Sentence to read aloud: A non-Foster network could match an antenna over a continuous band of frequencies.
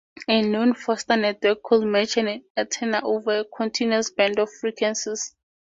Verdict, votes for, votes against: rejected, 0, 2